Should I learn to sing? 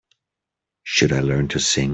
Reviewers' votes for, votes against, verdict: 2, 0, accepted